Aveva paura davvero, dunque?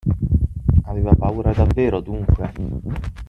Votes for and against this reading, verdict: 0, 6, rejected